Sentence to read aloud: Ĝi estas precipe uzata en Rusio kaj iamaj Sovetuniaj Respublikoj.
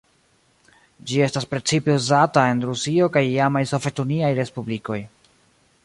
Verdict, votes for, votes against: accepted, 2, 0